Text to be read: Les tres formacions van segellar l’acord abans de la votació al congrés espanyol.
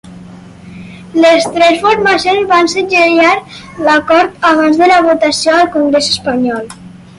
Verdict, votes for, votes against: accepted, 4, 2